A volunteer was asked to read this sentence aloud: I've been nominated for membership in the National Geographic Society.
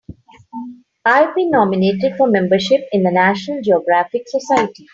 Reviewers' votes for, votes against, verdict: 2, 0, accepted